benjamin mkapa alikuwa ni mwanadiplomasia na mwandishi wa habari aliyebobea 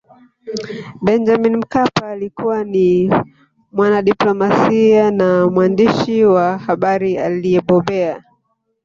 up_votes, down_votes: 0, 2